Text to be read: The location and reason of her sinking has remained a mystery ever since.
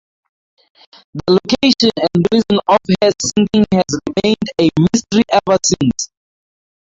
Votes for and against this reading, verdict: 0, 2, rejected